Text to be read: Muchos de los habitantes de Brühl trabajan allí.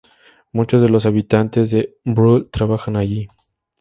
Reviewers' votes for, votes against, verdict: 0, 2, rejected